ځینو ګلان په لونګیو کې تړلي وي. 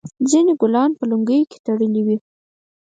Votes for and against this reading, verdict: 4, 0, accepted